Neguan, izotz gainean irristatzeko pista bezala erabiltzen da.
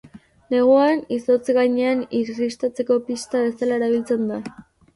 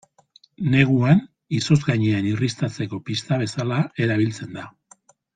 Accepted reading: second